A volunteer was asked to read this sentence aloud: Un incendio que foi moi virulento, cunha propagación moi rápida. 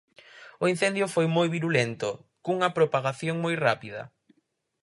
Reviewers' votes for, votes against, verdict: 2, 4, rejected